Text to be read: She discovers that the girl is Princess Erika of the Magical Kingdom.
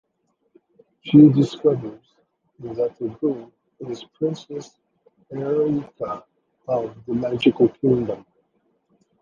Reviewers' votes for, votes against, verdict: 1, 2, rejected